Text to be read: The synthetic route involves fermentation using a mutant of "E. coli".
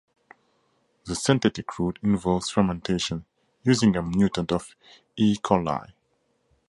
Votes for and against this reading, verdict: 2, 0, accepted